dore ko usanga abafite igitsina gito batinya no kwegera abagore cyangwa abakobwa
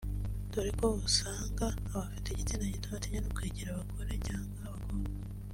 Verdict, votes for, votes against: accepted, 2, 0